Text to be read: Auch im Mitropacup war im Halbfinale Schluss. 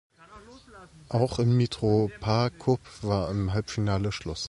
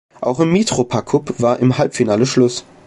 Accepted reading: first